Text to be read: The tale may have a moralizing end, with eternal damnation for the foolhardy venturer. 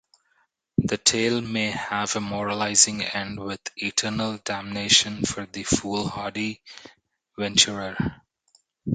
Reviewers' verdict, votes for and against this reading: accepted, 2, 0